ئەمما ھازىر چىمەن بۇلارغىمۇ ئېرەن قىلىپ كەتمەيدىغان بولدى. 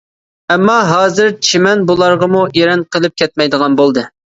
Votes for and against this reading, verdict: 2, 0, accepted